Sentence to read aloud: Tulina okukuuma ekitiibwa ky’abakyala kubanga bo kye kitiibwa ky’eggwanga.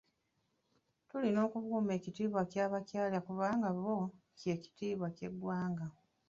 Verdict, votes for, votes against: accepted, 2, 1